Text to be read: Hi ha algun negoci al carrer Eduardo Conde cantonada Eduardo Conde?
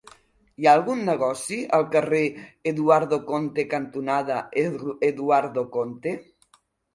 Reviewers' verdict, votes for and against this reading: rejected, 0, 2